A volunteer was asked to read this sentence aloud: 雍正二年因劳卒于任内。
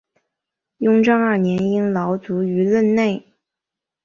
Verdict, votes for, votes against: accepted, 4, 1